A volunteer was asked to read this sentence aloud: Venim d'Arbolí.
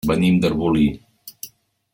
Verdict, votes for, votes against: accepted, 2, 0